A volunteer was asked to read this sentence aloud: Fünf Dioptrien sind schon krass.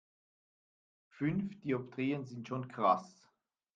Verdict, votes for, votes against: rejected, 1, 2